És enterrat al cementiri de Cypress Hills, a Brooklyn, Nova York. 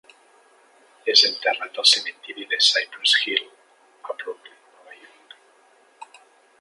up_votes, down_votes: 3, 2